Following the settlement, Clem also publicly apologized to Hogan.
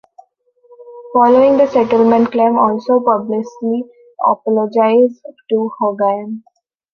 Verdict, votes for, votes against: rejected, 0, 2